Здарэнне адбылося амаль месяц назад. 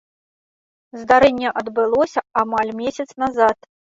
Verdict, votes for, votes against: accepted, 2, 0